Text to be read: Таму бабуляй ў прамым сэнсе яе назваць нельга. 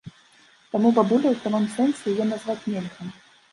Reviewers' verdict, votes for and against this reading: rejected, 1, 2